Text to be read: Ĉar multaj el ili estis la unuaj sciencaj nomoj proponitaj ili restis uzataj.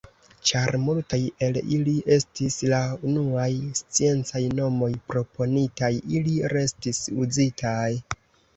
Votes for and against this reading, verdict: 2, 3, rejected